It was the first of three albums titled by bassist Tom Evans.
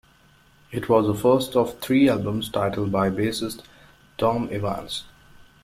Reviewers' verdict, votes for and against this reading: accepted, 2, 0